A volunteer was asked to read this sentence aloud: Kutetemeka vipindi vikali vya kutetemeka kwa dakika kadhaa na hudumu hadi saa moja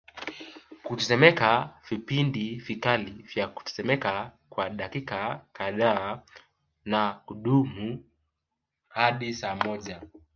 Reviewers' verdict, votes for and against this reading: rejected, 1, 2